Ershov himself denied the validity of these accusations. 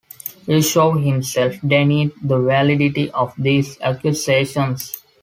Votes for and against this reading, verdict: 0, 2, rejected